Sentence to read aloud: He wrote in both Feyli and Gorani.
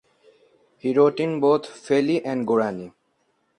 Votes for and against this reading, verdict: 0, 2, rejected